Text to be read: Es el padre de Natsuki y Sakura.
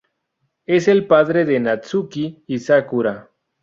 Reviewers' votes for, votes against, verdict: 0, 2, rejected